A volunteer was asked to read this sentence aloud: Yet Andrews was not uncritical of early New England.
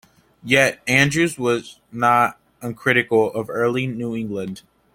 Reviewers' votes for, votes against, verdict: 2, 0, accepted